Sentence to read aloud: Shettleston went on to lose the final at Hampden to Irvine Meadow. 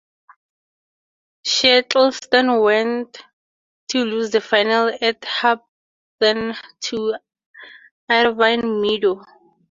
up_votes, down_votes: 0, 4